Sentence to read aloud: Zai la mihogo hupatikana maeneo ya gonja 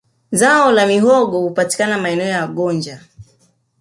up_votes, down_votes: 2, 0